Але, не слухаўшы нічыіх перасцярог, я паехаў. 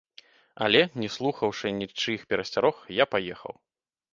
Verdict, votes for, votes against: rejected, 1, 2